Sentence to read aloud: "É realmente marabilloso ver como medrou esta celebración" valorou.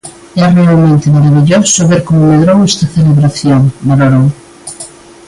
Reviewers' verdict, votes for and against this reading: accepted, 2, 1